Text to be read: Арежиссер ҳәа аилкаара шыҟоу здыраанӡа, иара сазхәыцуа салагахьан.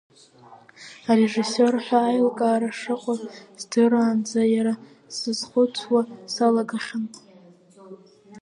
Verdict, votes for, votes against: rejected, 2, 4